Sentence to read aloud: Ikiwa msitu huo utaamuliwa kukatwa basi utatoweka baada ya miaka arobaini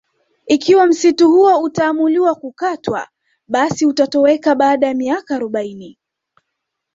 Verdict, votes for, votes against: accepted, 2, 1